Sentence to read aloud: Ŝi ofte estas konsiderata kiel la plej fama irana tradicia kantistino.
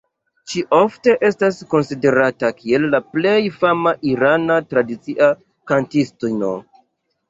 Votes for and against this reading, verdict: 0, 2, rejected